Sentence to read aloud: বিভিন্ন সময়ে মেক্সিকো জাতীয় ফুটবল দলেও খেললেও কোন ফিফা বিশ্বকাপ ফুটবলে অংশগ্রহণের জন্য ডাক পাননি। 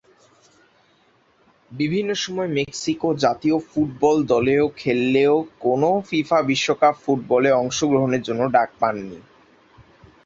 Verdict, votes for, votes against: rejected, 0, 2